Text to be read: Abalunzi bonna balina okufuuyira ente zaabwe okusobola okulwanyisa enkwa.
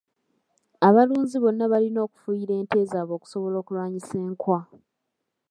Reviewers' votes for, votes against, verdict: 1, 2, rejected